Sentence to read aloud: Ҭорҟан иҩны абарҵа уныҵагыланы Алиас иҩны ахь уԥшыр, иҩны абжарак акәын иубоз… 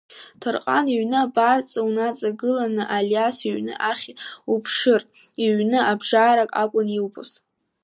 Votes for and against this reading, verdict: 3, 0, accepted